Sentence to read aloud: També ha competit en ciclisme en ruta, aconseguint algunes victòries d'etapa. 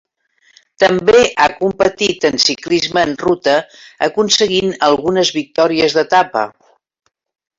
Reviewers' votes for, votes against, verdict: 3, 1, accepted